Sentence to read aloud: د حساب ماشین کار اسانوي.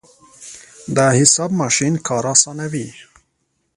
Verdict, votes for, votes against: accepted, 2, 0